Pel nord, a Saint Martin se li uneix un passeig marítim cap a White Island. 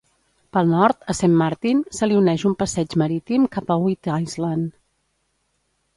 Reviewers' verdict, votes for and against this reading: rejected, 0, 2